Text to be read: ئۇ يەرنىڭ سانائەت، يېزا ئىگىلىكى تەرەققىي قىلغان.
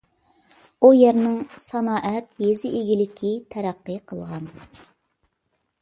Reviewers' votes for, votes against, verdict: 2, 0, accepted